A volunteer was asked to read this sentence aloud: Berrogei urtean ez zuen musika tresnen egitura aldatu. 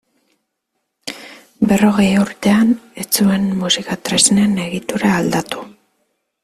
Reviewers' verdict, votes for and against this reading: accepted, 2, 0